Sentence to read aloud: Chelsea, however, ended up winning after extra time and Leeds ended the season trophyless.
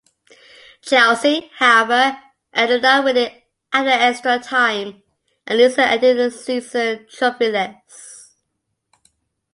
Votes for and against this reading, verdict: 0, 2, rejected